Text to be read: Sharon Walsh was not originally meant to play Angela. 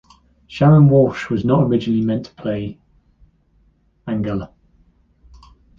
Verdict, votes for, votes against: rejected, 0, 2